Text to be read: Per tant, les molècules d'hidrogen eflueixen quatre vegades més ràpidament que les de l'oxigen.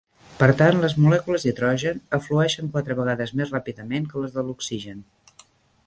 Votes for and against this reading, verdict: 2, 1, accepted